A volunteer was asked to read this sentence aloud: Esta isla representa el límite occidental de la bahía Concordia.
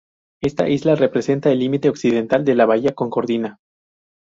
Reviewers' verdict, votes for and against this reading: rejected, 0, 4